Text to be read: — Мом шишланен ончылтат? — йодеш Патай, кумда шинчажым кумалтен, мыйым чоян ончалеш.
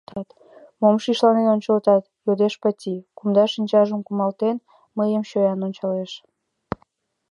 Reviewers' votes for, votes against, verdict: 2, 0, accepted